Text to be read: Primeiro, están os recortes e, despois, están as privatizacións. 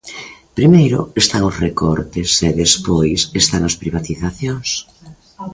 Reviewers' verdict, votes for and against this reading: rejected, 1, 2